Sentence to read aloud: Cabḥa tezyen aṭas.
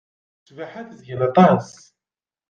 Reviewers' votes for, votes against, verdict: 0, 2, rejected